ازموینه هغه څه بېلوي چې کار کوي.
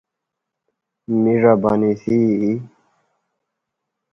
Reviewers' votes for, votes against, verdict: 0, 2, rejected